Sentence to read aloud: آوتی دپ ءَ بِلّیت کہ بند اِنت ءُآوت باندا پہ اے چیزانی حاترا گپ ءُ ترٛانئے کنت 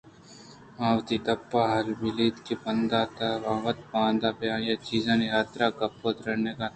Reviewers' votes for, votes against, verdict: 2, 0, accepted